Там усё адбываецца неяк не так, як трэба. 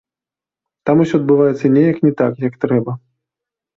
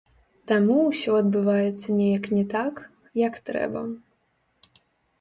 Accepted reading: first